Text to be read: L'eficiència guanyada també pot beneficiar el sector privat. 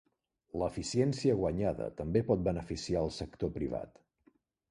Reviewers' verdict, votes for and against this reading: accepted, 3, 0